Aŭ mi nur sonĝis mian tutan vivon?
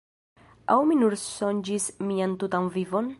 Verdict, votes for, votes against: rejected, 2, 3